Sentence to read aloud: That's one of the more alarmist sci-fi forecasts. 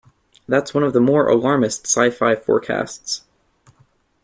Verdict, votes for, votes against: accepted, 2, 0